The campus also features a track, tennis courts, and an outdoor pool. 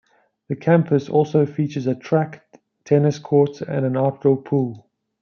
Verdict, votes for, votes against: rejected, 1, 2